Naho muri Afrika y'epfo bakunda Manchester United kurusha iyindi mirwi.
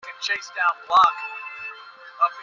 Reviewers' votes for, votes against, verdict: 0, 2, rejected